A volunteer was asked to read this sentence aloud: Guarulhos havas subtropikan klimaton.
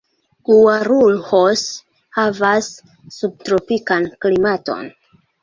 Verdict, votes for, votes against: rejected, 1, 2